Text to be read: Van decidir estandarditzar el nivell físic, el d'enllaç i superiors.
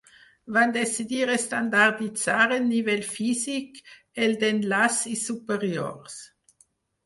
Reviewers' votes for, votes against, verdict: 0, 4, rejected